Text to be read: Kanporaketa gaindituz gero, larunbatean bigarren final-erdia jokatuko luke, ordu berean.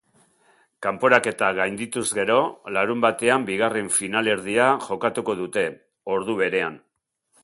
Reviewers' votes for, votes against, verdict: 1, 2, rejected